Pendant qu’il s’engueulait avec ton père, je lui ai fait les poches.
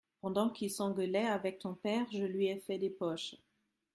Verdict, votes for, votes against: rejected, 1, 2